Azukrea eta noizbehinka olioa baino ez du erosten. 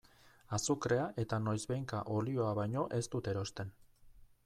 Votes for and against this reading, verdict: 0, 2, rejected